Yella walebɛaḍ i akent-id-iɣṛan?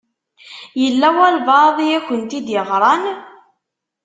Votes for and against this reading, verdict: 2, 0, accepted